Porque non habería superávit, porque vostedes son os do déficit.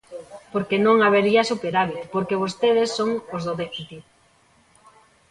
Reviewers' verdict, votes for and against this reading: rejected, 0, 2